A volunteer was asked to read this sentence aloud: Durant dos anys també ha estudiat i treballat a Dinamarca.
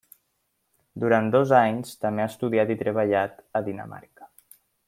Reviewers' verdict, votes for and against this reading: accepted, 3, 0